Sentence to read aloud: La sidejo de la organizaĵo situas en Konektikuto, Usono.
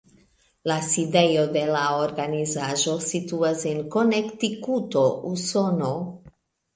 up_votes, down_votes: 0, 2